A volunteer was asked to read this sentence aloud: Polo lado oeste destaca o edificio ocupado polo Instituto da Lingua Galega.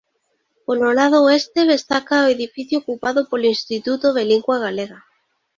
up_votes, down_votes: 0, 2